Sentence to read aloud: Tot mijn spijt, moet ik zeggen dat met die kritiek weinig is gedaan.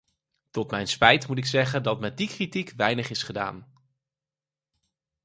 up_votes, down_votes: 4, 2